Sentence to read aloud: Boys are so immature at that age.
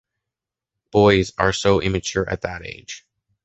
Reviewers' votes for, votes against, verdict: 2, 0, accepted